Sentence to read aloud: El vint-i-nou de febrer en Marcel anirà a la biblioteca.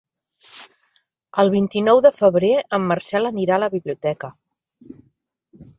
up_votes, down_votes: 3, 0